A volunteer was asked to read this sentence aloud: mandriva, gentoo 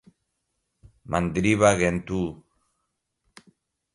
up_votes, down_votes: 2, 0